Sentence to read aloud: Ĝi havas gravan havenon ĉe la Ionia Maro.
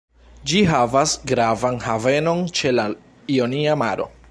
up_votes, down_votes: 1, 2